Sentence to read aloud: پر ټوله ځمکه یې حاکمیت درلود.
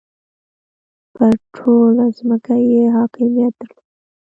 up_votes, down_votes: 0, 2